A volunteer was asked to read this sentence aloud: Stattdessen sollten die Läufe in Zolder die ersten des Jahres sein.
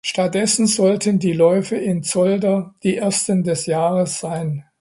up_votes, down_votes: 2, 0